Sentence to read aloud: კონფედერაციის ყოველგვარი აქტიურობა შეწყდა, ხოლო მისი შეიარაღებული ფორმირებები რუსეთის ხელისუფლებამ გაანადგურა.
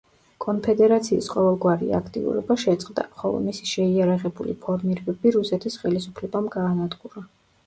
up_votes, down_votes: 2, 0